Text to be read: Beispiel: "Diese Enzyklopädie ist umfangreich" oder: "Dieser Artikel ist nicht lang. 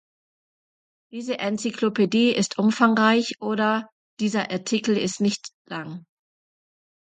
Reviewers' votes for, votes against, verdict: 0, 2, rejected